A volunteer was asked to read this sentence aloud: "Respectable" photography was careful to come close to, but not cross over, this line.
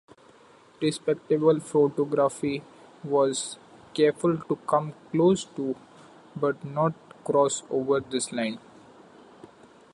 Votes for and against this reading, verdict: 2, 0, accepted